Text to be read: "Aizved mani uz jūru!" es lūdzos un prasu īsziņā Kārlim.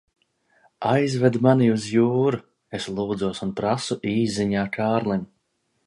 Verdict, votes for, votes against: accepted, 2, 0